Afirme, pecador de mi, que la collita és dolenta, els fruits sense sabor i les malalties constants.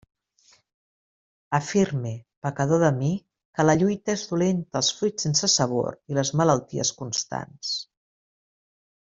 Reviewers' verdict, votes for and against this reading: rejected, 0, 2